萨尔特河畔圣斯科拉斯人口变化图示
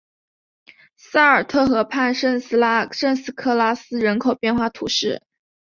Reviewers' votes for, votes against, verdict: 0, 2, rejected